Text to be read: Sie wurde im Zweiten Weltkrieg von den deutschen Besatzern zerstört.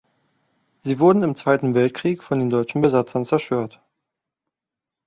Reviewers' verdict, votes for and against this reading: rejected, 0, 2